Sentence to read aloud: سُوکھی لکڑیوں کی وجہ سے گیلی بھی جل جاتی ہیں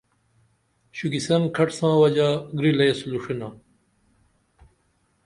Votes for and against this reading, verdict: 1, 2, rejected